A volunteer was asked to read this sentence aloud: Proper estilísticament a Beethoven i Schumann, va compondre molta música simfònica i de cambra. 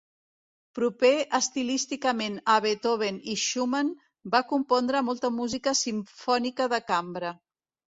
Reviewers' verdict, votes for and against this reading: rejected, 0, 2